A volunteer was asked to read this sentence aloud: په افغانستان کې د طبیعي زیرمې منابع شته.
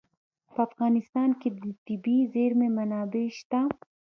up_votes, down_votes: 1, 2